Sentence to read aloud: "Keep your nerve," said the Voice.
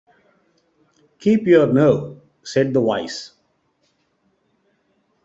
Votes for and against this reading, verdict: 1, 2, rejected